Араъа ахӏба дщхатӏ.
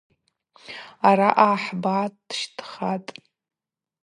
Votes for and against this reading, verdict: 0, 2, rejected